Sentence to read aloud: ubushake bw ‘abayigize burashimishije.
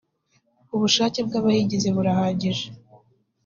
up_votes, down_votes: 1, 2